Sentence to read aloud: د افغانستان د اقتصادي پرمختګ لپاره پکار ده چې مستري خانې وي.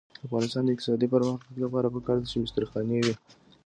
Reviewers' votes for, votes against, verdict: 2, 0, accepted